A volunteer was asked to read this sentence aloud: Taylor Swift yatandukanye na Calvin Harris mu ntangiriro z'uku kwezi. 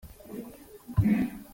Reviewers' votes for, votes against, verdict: 0, 4, rejected